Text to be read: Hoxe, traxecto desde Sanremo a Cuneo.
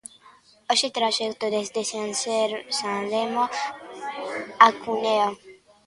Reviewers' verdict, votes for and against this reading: rejected, 0, 2